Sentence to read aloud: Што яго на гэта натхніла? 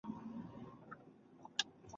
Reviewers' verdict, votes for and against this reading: rejected, 0, 2